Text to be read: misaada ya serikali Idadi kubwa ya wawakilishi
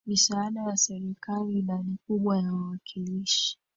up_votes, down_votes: 1, 2